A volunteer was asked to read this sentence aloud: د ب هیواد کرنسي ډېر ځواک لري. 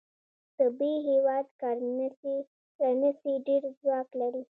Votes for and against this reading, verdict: 1, 2, rejected